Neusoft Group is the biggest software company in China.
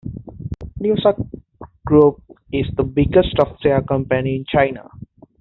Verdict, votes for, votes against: rejected, 0, 2